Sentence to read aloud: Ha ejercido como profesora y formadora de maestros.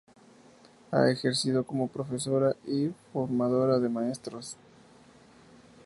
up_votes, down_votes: 0, 2